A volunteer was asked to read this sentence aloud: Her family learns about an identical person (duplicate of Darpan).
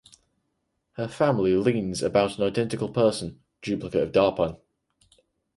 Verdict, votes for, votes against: rejected, 0, 4